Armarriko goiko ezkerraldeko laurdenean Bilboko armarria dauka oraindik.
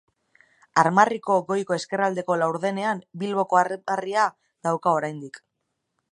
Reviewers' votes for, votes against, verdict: 0, 2, rejected